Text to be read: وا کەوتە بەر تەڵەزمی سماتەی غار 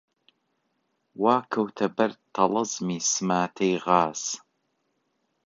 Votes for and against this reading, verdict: 0, 2, rejected